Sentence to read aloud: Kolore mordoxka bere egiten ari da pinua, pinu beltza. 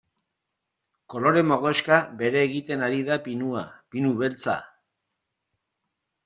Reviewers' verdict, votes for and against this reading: accepted, 2, 0